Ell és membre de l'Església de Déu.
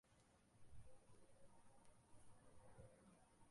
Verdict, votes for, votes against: rejected, 0, 2